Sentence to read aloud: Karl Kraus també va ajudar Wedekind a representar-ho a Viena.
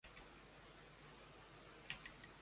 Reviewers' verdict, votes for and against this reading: rejected, 0, 2